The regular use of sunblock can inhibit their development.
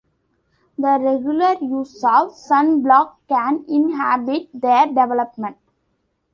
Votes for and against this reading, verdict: 0, 2, rejected